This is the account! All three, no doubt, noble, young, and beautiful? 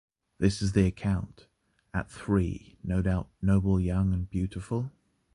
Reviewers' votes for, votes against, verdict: 0, 2, rejected